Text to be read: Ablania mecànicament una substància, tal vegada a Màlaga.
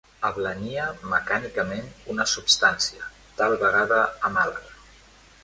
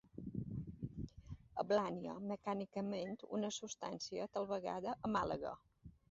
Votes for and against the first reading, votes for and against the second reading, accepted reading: 2, 1, 1, 2, first